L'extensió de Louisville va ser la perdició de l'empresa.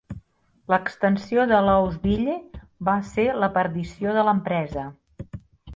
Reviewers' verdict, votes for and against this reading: accepted, 2, 0